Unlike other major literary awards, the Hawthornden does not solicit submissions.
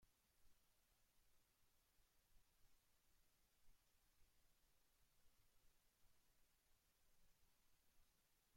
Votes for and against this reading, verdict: 0, 2, rejected